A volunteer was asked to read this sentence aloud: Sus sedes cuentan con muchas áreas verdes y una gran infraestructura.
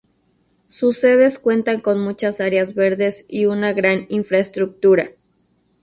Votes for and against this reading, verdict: 2, 0, accepted